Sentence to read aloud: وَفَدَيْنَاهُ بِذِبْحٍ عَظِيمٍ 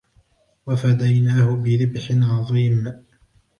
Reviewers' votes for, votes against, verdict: 2, 1, accepted